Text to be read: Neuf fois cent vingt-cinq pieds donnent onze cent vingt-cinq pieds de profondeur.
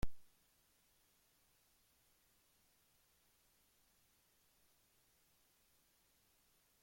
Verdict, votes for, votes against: rejected, 0, 2